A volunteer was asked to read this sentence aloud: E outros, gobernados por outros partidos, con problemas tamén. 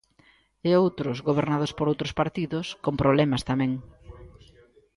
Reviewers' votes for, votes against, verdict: 2, 0, accepted